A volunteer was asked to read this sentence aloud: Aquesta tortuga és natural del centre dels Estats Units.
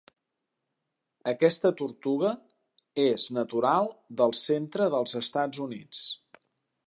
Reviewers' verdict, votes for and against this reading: accepted, 3, 0